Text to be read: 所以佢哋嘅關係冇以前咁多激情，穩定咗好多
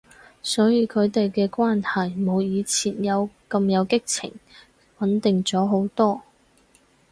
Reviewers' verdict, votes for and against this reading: rejected, 0, 4